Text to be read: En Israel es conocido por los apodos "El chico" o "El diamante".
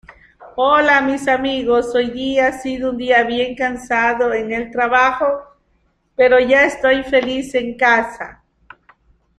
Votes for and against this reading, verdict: 0, 2, rejected